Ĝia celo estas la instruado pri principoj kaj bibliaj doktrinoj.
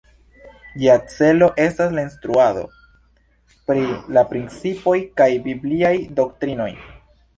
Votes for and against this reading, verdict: 1, 2, rejected